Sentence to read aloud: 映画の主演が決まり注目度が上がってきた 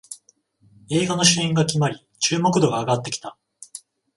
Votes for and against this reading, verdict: 14, 0, accepted